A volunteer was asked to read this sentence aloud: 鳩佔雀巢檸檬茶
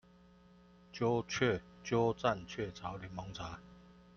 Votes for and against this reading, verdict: 0, 2, rejected